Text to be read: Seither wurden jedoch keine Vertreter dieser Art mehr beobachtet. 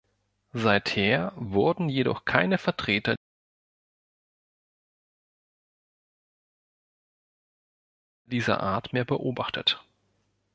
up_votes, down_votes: 1, 2